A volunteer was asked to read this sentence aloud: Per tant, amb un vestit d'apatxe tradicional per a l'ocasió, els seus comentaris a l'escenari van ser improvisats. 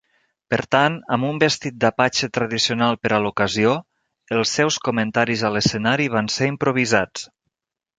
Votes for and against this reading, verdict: 2, 0, accepted